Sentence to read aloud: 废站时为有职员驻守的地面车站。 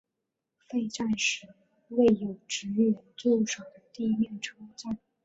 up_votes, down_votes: 5, 2